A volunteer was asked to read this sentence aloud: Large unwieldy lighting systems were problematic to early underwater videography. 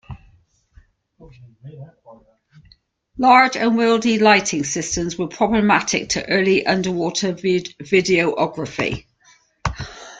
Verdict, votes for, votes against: rejected, 0, 2